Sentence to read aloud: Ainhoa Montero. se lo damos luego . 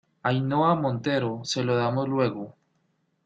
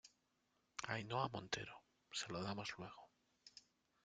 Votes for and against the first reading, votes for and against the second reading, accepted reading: 2, 0, 1, 2, first